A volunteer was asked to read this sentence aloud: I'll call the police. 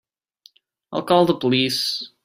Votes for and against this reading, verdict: 2, 0, accepted